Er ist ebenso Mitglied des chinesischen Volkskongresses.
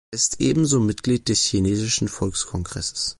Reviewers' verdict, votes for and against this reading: rejected, 0, 2